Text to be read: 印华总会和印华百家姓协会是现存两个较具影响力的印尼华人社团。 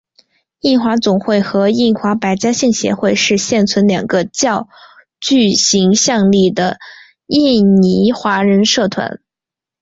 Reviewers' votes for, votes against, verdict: 3, 1, accepted